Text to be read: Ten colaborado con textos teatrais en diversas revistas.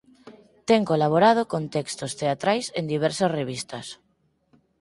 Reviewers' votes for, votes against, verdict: 4, 0, accepted